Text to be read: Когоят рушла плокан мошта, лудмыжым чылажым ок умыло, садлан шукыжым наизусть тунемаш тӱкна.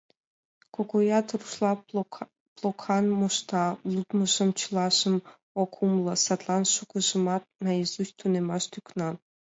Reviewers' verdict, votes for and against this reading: rejected, 1, 2